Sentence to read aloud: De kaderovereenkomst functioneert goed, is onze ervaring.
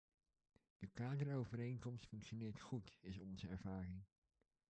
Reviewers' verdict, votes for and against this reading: rejected, 1, 2